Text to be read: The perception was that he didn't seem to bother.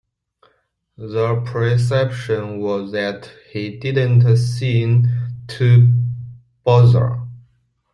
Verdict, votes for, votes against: accepted, 2, 0